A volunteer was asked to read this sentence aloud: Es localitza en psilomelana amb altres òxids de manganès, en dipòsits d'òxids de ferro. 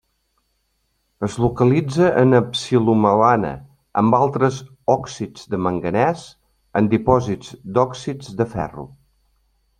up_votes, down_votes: 2, 0